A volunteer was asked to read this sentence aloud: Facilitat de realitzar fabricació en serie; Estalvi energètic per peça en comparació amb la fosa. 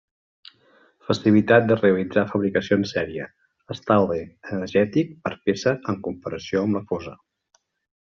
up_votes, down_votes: 2, 0